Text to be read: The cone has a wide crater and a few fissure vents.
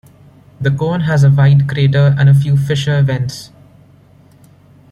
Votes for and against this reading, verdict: 2, 0, accepted